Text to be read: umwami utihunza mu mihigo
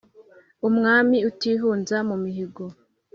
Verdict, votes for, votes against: accepted, 2, 0